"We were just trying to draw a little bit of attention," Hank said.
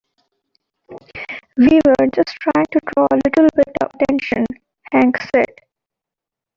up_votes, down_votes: 2, 0